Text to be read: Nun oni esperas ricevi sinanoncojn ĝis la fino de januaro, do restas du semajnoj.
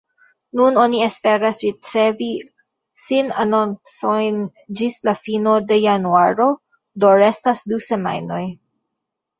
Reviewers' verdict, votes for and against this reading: accepted, 2, 0